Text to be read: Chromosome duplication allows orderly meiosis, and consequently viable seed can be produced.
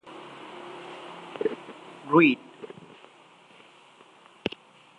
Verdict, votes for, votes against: rejected, 0, 2